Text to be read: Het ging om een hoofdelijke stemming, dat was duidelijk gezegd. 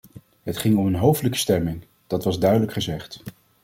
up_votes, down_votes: 2, 0